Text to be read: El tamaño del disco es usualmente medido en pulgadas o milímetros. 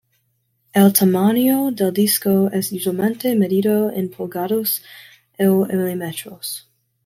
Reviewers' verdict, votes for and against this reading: rejected, 1, 2